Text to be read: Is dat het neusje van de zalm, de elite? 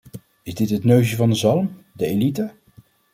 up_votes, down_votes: 1, 2